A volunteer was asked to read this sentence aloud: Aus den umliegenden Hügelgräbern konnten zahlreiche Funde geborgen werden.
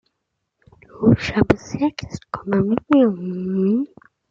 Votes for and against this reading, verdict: 0, 2, rejected